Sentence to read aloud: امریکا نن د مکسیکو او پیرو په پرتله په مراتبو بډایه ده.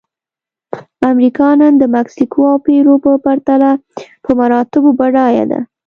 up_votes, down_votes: 2, 0